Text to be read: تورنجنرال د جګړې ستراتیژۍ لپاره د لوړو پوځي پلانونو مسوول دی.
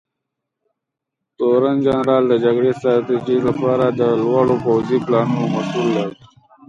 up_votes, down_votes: 1, 2